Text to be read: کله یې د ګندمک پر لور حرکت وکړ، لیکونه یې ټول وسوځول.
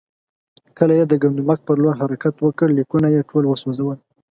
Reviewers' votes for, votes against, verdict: 2, 0, accepted